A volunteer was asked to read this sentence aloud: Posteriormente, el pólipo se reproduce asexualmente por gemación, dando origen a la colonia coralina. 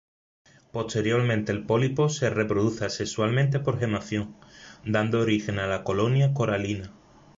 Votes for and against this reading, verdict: 2, 0, accepted